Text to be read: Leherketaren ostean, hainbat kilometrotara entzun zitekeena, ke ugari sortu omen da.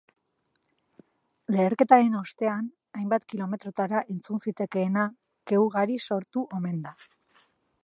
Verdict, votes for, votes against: accepted, 4, 0